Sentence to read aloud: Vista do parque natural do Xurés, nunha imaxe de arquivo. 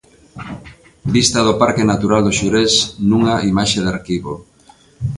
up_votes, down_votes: 2, 0